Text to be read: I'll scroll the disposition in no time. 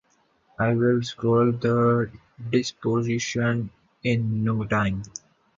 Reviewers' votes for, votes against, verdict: 2, 2, rejected